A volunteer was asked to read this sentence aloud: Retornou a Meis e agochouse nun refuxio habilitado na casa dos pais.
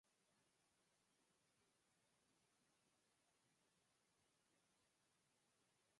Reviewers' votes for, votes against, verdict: 0, 2, rejected